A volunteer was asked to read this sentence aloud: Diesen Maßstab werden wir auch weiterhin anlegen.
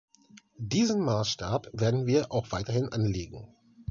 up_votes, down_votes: 2, 0